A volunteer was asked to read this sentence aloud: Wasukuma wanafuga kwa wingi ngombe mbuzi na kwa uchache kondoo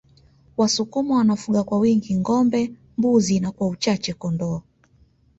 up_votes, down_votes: 1, 2